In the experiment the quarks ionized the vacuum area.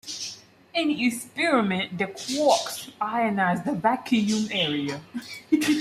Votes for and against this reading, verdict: 2, 1, accepted